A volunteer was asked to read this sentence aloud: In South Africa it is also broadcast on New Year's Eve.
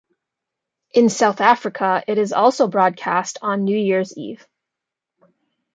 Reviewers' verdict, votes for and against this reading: accepted, 2, 0